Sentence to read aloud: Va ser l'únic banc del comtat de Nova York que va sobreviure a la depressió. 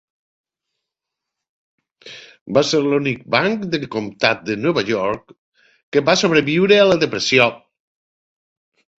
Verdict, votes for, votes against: accepted, 2, 0